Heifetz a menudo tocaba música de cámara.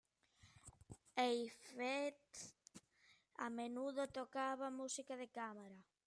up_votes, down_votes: 2, 1